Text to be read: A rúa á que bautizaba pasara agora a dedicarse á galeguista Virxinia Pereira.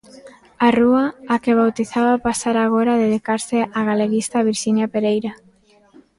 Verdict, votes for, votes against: rejected, 0, 2